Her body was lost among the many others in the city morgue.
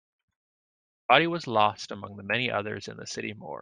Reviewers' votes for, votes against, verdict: 0, 2, rejected